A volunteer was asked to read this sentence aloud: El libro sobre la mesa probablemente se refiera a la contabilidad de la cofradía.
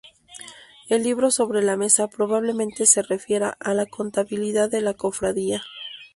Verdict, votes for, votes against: accepted, 2, 0